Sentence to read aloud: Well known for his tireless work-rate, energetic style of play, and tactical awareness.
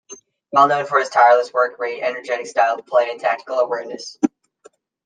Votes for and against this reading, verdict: 2, 0, accepted